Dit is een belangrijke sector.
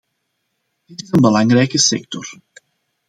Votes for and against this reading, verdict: 2, 1, accepted